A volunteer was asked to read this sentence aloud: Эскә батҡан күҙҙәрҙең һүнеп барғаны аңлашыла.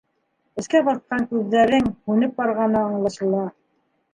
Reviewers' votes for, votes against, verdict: 2, 0, accepted